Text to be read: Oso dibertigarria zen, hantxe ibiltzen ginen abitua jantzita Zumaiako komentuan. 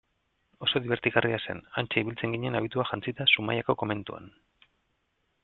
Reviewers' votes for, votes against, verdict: 2, 0, accepted